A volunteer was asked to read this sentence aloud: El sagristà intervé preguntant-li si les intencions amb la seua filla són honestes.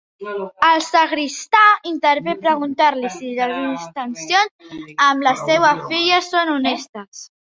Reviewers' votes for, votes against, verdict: 0, 2, rejected